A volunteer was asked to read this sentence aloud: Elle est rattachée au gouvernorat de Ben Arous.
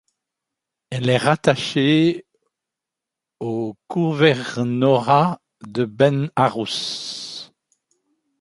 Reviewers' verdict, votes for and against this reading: accepted, 2, 0